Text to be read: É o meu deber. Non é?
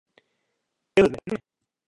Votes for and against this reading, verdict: 0, 2, rejected